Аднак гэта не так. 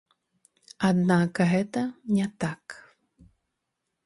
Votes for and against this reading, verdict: 2, 0, accepted